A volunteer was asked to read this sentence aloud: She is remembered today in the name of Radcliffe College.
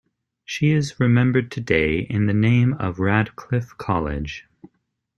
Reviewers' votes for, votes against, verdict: 2, 0, accepted